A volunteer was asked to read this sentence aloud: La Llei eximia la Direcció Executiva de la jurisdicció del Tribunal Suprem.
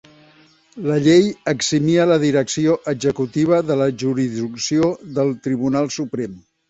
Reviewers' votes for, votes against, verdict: 1, 2, rejected